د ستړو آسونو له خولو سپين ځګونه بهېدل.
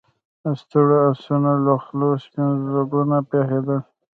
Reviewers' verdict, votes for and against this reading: accepted, 2, 0